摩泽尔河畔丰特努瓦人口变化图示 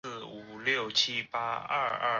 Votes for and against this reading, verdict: 0, 2, rejected